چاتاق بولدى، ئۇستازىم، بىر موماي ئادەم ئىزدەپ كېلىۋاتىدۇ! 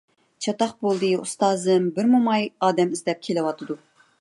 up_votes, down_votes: 2, 0